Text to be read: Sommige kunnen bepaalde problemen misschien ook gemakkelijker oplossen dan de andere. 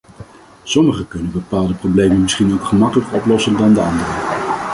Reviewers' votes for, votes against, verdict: 2, 0, accepted